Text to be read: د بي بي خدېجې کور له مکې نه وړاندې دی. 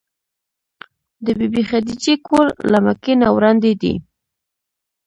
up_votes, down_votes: 0, 2